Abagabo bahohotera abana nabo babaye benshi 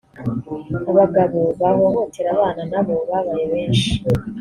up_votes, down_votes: 3, 1